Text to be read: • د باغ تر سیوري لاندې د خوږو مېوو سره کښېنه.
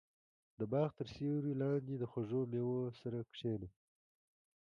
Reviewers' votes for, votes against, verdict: 2, 1, accepted